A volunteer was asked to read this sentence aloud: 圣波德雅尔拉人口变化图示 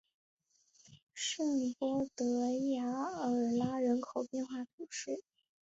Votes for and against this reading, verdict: 3, 1, accepted